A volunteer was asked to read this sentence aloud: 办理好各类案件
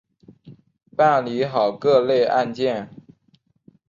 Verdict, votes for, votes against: accepted, 3, 0